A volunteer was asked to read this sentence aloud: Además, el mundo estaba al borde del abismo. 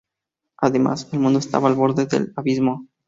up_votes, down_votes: 2, 0